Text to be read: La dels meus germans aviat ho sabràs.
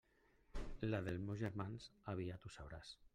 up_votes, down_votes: 0, 2